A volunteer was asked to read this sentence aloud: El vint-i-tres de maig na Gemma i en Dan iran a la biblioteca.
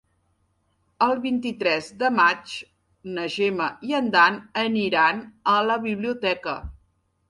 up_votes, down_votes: 1, 2